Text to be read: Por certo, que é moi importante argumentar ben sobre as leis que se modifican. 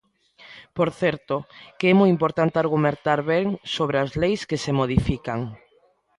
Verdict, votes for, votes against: rejected, 0, 2